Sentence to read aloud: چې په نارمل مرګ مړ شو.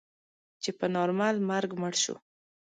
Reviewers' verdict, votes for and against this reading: accepted, 2, 0